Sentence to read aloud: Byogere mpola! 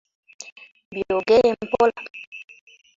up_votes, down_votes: 2, 0